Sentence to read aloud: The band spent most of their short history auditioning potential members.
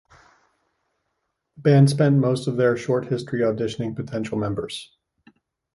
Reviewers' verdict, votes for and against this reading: rejected, 1, 2